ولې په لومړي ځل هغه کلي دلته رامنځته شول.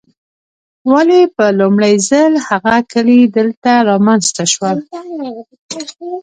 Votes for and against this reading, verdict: 2, 0, accepted